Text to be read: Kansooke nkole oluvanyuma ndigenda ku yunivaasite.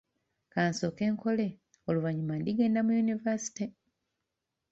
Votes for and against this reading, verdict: 1, 2, rejected